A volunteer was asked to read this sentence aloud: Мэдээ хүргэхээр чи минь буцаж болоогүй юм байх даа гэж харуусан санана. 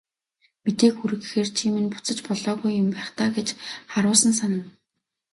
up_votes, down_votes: 2, 0